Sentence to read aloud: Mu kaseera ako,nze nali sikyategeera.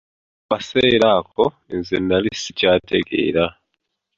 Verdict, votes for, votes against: rejected, 1, 2